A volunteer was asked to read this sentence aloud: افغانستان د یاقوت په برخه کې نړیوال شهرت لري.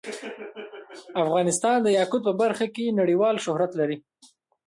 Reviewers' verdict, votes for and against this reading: accepted, 2, 1